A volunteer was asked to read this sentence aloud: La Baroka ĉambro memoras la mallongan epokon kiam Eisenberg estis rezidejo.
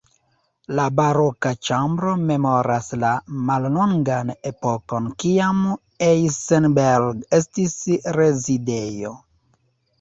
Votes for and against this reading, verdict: 2, 1, accepted